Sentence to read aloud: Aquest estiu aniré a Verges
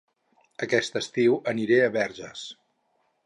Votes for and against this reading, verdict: 6, 0, accepted